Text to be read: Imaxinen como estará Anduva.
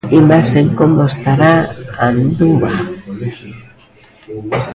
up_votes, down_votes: 0, 2